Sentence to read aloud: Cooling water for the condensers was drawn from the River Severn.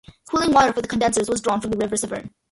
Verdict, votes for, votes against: rejected, 0, 2